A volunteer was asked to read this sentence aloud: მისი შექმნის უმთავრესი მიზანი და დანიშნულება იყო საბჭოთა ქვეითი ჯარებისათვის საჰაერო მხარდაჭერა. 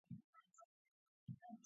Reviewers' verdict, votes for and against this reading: rejected, 0, 2